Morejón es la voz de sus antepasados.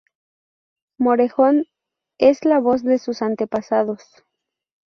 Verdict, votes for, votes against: rejected, 0, 2